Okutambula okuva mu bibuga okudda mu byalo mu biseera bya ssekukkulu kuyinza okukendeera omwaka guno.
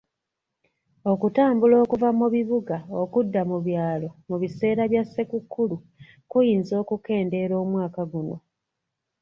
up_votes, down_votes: 1, 2